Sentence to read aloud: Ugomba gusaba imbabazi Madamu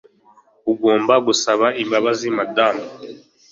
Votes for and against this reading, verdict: 2, 0, accepted